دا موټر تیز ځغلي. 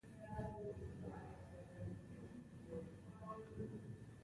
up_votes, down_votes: 1, 2